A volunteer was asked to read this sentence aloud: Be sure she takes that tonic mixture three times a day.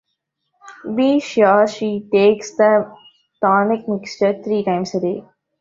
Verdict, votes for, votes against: accepted, 2, 1